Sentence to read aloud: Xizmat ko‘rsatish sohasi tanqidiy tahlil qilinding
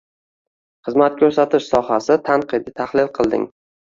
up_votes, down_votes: 1, 2